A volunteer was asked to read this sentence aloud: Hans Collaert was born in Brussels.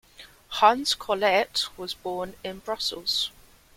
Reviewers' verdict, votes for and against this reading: accepted, 2, 0